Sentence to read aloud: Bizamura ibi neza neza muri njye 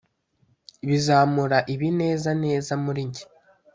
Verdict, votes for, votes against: accepted, 2, 0